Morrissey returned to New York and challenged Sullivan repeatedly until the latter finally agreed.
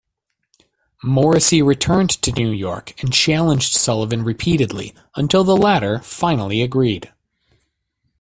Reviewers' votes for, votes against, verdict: 1, 2, rejected